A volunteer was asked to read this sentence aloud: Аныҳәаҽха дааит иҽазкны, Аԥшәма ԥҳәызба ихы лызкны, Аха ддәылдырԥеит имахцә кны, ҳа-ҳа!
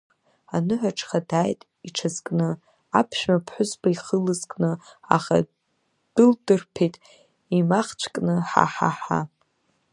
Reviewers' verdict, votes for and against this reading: rejected, 0, 2